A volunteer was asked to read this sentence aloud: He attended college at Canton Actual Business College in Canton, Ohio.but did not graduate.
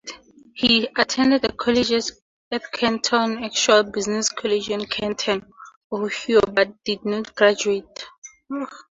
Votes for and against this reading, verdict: 4, 0, accepted